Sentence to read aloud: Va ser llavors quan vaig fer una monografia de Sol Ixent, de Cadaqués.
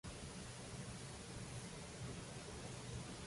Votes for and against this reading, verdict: 0, 2, rejected